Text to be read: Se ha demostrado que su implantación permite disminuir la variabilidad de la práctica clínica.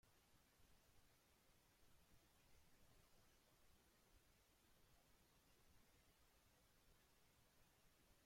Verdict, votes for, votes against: rejected, 0, 2